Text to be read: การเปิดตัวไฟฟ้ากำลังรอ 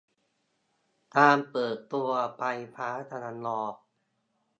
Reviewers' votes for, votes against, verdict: 1, 2, rejected